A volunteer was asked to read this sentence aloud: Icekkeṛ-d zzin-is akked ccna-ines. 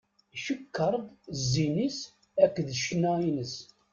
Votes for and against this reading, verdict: 1, 2, rejected